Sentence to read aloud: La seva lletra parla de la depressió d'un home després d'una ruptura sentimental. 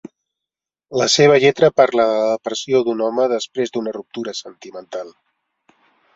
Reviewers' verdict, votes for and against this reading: rejected, 0, 2